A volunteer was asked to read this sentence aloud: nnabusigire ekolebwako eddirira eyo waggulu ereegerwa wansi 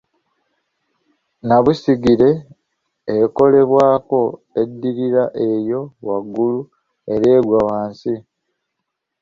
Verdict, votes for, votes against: rejected, 0, 2